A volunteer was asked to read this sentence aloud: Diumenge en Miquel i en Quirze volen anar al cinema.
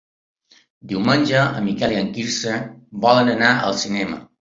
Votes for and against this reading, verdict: 3, 0, accepted